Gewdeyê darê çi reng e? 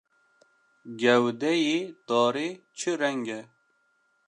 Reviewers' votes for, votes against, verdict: 1, 2, rejected